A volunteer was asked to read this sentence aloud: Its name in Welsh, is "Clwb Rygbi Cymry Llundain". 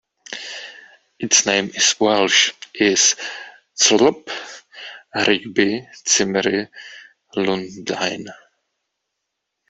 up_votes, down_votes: 1, 2